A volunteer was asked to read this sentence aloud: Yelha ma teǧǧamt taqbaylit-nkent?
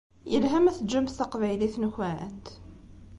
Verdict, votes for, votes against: accepted, 2, 0